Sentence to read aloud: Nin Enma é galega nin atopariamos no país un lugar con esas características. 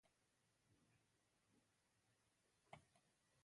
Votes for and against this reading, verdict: 1, 2, rejected